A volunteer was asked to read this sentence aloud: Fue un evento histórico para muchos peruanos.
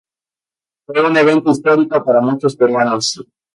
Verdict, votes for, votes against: rejected, 0, 2